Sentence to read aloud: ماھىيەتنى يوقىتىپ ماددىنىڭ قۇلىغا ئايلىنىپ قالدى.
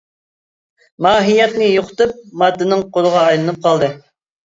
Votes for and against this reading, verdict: 2, 0, accepted